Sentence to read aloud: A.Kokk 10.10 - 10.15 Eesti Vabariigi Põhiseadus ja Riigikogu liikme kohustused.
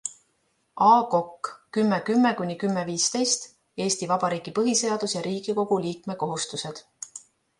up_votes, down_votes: 0, 2